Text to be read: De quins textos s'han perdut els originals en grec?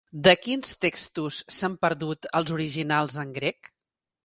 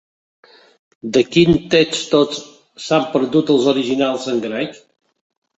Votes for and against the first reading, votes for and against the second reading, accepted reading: 3, 0, 0, 2, first